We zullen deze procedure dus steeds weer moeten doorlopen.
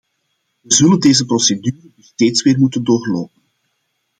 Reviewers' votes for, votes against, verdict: 0, 2, rejected